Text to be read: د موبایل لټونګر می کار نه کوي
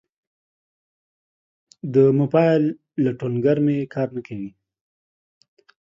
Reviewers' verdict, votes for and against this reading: accepted, 2, 0